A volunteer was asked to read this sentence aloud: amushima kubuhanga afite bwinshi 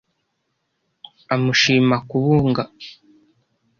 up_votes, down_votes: 0, 2